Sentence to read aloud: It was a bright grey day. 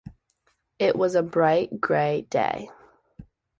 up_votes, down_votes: 2, 0